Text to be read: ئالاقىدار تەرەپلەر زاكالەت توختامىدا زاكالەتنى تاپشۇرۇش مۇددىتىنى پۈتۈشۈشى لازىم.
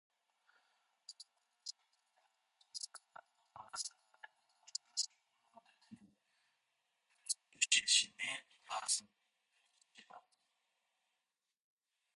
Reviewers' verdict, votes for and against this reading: rejected, 0, 2